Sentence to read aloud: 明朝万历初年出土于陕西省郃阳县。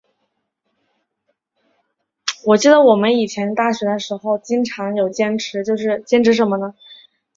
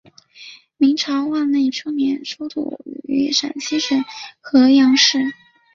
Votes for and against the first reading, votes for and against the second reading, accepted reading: 2, 3, 4, 0, second